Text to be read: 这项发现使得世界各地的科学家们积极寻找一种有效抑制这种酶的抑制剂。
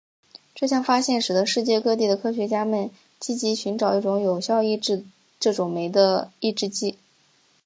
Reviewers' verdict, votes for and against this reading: accepted, 2, 0